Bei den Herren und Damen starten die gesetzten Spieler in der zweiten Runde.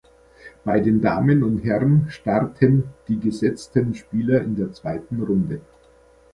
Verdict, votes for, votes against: rejected, 0, 2